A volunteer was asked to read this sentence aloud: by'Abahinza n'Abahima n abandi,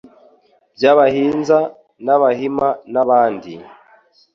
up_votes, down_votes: 2, 0